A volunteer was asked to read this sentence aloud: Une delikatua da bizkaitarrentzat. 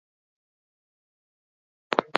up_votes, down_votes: 0, 4